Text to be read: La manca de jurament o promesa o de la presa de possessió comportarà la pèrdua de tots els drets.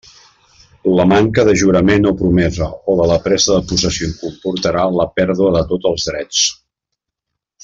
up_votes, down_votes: 2, 1